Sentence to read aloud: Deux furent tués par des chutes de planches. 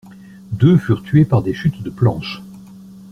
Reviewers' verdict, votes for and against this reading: accepted, 2, 0